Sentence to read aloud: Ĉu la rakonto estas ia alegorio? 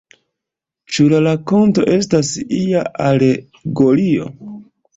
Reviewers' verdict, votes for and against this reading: rejected, 1, 2